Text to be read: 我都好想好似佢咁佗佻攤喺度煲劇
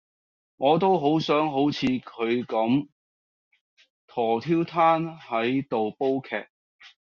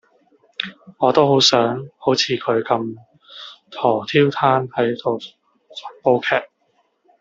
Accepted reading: first